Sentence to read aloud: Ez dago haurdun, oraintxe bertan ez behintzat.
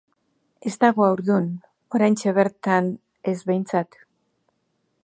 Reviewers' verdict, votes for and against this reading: accepted, 2, 0